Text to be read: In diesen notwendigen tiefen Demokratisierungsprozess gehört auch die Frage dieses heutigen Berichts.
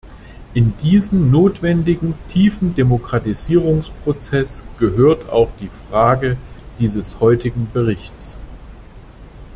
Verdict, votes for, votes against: accepted, 2, 0